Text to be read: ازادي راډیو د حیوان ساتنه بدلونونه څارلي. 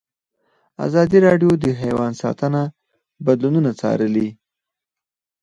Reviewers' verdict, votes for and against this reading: rejected, 2, 4